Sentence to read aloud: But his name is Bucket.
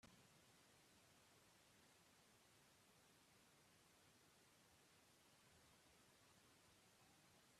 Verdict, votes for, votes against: rejected, 0, 2